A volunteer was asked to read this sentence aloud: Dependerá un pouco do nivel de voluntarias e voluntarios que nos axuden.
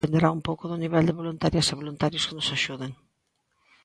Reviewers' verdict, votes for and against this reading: rejected, 0, 2